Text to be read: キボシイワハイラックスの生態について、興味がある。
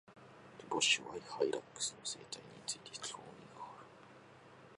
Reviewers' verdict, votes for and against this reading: accepted, 2, 0